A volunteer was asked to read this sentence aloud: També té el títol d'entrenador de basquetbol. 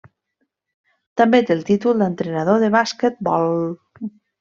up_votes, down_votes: 1, 2